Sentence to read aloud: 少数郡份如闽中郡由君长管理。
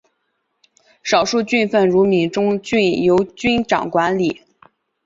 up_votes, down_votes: 3, 0